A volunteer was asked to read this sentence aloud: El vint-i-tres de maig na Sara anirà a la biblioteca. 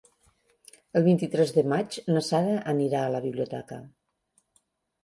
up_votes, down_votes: 3, 0